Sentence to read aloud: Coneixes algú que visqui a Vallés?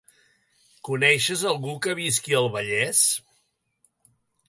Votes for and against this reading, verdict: 0, 3, rejected